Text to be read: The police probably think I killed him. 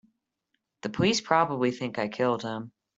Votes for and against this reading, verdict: 3, 0, accepted